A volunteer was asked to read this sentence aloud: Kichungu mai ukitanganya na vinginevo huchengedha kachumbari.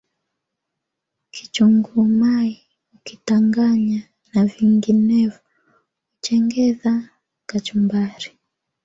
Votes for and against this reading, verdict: 2, 0, accepted